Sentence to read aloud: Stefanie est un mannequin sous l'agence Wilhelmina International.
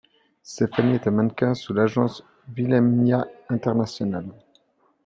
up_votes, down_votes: 2, 0